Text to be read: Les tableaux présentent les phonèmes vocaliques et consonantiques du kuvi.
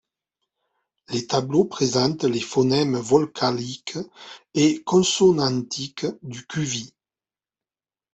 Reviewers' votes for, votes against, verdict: 1, 2, rejected